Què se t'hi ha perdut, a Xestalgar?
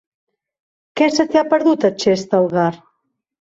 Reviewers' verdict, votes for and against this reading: accepted, 3, 0